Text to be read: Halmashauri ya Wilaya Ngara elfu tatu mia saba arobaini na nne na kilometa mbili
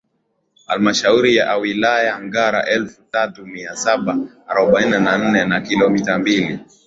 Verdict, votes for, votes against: accepted, 2, 0